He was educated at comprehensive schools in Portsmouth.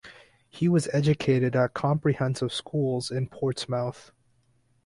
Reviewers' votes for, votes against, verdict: 4, 0, accepted